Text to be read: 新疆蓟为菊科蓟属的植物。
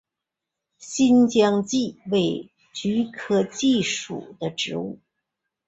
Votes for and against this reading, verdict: 2, 0, accepted